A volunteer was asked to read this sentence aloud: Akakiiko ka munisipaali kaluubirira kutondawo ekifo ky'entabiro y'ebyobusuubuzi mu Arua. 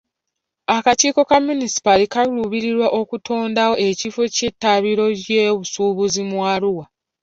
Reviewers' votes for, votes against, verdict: 0, 2, rejected